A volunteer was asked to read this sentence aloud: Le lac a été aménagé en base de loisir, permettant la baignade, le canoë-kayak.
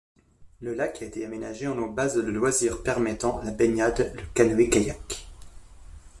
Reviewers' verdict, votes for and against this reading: rejected, 1, 2